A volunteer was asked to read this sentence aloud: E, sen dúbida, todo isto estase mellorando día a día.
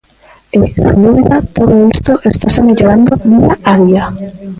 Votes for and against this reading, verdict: 0, 2, rejected